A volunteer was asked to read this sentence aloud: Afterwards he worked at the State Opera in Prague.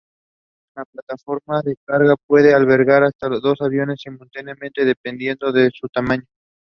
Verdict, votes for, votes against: rejected, 0, 2